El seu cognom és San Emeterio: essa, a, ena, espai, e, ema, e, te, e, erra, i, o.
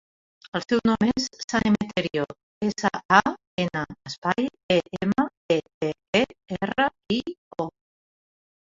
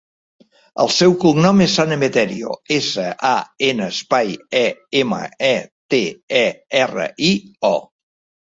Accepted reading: second